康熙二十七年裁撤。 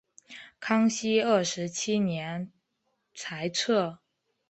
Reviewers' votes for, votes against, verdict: 3, 1, accepted